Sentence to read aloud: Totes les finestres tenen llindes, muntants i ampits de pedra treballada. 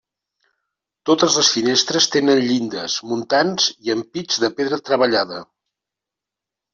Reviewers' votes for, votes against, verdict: 2, 0, accepted